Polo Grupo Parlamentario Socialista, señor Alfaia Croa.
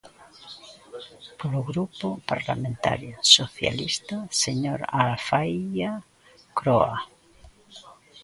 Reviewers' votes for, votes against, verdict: 2, 1, accepted